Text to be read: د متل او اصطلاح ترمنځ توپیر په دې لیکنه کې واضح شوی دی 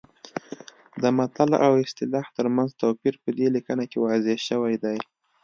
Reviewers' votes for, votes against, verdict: 2, 0, accepted